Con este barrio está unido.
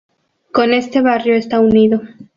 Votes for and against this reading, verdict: 2, 0, accepted